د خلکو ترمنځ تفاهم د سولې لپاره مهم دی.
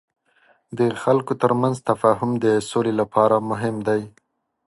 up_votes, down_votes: 2, 1